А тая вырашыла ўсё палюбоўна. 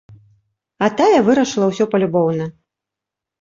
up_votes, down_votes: 2, 0